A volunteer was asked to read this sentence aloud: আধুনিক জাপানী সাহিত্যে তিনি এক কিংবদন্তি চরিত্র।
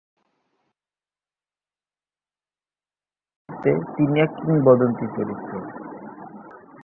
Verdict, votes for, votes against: rejected, 0, 2